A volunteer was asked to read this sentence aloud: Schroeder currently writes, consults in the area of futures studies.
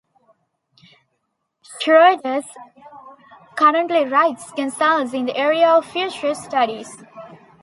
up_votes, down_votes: 2, 1